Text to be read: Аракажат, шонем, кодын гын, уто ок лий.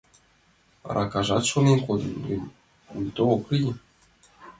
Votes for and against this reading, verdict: 2, 1, accepted